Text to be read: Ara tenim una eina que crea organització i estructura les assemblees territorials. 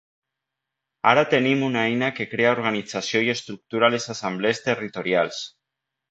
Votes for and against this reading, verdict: 2, 0, accepted